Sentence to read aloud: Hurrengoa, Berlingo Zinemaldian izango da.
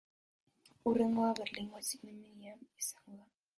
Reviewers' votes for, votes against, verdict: 0, 4, rejected